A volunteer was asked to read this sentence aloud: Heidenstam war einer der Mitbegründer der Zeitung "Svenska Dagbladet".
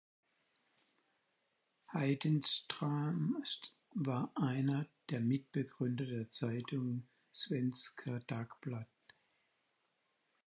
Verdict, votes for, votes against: rejected, 0, 4